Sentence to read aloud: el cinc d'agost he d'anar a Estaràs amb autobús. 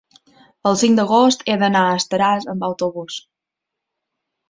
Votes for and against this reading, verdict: 3, 0, accepted